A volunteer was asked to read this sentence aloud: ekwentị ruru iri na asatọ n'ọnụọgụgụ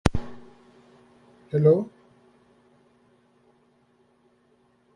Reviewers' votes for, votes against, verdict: 0, 2, rejected